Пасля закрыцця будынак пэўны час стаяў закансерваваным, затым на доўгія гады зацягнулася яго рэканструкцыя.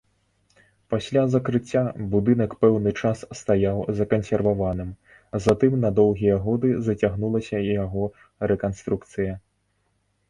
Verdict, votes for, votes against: rejected, 0, 2